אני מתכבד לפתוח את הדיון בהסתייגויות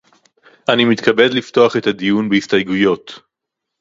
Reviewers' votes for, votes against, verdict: 0, 2, rejected